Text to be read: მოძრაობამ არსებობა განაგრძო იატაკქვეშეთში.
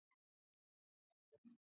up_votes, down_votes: 0, 2